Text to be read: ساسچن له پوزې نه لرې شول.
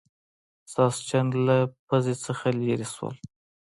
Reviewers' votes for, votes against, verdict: 2, 1, accepted